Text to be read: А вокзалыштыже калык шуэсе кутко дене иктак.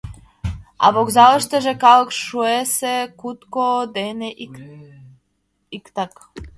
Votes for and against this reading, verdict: 1, 2, rejected